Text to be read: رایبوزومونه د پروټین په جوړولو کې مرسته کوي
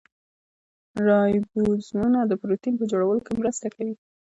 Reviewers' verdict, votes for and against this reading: accepted, 2, 0